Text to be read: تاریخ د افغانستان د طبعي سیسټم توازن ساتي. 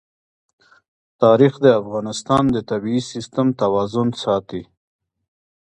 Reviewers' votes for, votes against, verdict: 1, 2, rejected